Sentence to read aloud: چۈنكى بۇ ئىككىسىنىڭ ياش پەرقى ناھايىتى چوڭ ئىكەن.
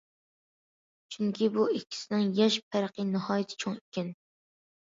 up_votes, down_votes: 2, 0